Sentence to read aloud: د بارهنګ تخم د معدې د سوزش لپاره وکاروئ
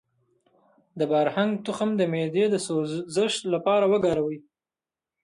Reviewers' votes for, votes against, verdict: 2, 0, accepted